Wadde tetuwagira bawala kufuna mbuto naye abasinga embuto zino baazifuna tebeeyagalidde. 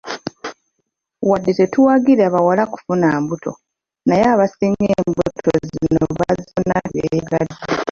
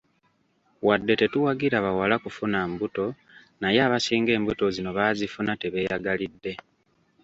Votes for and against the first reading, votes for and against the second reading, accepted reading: 0, 2, 2, 0, second